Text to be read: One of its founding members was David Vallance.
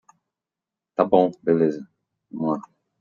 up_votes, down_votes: 0, 2